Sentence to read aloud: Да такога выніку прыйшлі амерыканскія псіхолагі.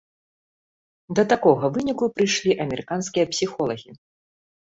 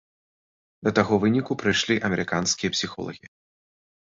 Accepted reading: first